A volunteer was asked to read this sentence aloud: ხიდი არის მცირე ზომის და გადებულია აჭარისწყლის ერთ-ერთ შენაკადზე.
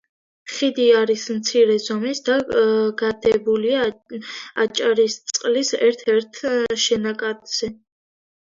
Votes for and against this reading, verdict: 0, 2, rejected